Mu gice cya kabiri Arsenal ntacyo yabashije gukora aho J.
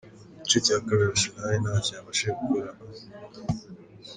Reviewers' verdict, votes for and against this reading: accepted, 3, 0